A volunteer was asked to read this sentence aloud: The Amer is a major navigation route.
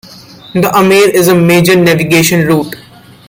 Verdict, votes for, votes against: accepted, 2, 0